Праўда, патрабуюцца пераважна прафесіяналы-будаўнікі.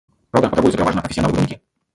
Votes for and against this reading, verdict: 0, 2, rejected